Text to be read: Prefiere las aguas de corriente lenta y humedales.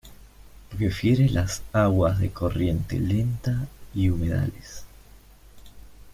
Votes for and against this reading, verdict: 1, 2, rejected